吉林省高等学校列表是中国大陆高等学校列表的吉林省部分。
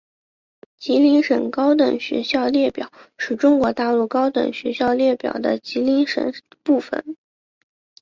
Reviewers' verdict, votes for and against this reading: accepted, 5, 0